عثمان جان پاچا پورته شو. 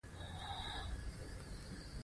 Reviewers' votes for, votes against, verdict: 1, 2, rejected